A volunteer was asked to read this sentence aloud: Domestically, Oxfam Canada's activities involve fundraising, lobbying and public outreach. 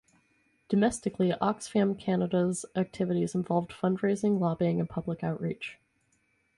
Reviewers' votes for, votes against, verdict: 2, 2, rejected